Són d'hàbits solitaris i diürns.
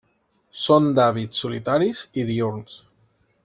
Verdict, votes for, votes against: accepted, 3, 0